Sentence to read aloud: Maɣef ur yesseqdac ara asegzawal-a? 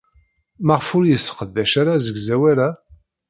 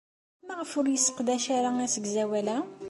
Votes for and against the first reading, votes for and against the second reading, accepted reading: 0, 2, 2, 0, second